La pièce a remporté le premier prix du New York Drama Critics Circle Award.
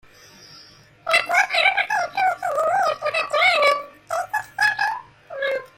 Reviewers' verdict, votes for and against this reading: rejected, 0, 2